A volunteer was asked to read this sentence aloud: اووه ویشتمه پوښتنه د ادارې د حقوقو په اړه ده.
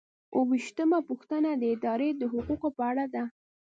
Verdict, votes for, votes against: accepted, 2, 0